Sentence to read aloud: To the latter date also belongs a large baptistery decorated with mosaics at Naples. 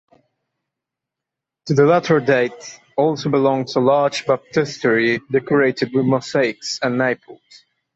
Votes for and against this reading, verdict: 2, 0, accepted